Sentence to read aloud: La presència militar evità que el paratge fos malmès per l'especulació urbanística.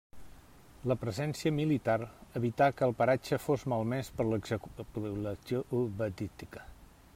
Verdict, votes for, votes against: rejected, 0, 2